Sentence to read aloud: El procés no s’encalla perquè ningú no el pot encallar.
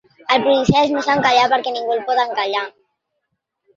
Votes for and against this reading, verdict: 1, 2, rejected